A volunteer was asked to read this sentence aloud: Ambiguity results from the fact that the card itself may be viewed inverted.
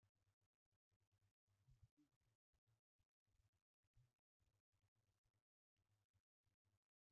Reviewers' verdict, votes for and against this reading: rejected, 0, 2